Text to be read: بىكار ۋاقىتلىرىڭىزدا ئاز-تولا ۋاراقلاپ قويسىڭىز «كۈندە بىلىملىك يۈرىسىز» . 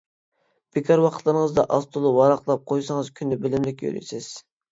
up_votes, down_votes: 2, 0